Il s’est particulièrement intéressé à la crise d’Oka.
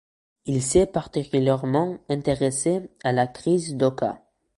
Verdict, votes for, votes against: accepted, 2, 0